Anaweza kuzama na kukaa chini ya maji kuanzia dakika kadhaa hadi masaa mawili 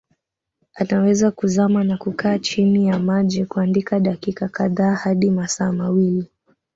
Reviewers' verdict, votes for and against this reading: rejected, 0, 2